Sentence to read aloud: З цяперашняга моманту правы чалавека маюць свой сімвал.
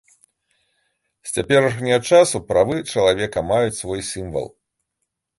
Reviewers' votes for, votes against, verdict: 1, 2, rejected